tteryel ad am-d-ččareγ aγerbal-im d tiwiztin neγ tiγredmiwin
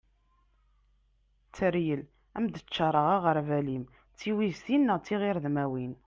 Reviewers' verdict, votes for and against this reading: accepted, 2, 0